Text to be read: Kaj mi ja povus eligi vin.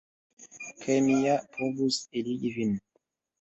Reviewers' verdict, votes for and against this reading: rejected, 0, 2